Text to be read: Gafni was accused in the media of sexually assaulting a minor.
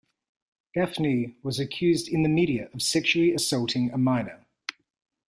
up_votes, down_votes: 1, 2